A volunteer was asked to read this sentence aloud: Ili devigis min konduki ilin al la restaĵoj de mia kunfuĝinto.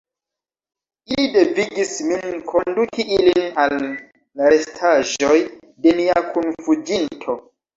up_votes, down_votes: 1, 2